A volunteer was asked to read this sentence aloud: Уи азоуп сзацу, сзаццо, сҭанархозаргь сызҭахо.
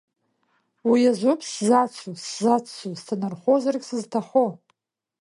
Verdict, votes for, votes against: accepted, 2, 0